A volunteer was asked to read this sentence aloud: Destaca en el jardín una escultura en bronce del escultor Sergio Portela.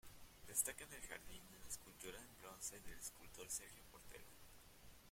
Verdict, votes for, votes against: rejected, 0, 2